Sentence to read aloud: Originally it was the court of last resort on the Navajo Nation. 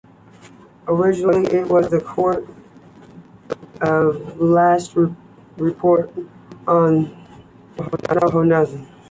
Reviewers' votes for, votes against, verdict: 2, 1, accepted